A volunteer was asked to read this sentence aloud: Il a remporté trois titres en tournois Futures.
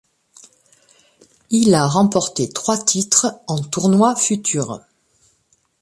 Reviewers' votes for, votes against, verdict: 2, 0, accepted